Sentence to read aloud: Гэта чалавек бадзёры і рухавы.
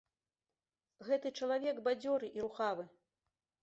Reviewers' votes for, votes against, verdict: 2, 0, accepted